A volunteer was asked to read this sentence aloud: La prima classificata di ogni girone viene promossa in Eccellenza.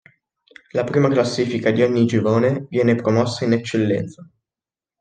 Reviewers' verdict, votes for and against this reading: rejected, 0, 2